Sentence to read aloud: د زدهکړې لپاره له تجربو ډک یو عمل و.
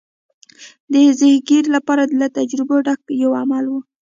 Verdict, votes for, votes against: rejected, 0, 2